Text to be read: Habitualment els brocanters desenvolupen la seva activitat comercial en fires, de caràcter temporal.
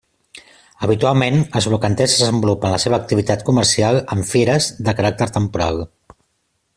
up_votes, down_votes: 2, 0